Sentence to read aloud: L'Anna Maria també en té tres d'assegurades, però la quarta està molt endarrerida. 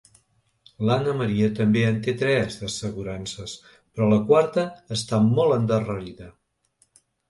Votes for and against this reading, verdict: 1, 2, rejected